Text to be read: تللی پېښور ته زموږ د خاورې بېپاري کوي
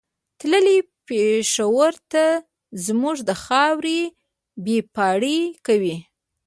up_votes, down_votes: 1, 2